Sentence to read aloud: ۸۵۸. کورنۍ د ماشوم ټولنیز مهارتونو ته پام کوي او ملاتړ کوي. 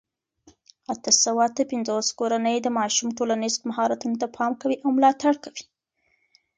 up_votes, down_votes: 0, 2